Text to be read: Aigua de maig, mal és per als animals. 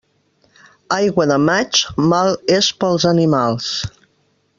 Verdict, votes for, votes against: rejected, 1, 2